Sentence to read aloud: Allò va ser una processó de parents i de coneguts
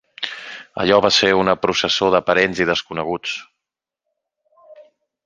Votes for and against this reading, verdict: 2, 3, rejected